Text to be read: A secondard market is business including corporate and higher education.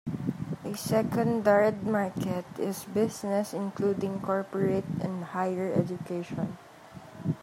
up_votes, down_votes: 1, 2